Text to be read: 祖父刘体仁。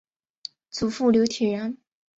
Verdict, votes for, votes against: accepted, 2, 0